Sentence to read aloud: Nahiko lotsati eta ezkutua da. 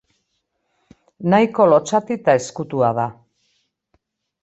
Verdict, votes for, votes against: accepted, 2, 0